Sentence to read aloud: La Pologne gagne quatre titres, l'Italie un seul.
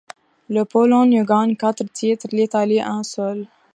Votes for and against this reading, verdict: 2, 0, accepted